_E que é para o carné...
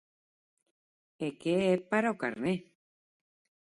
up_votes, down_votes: 4, 0